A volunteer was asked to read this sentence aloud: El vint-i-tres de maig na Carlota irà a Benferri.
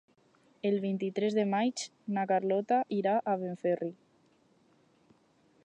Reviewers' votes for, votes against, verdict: 0, 2, rejected